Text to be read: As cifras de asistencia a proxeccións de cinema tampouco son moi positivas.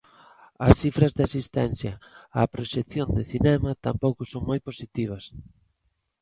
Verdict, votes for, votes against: accepted, 2, 1